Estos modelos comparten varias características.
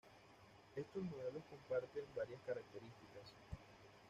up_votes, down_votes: 1, 2